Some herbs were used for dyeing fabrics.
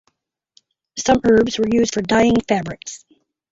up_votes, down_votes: 2, 2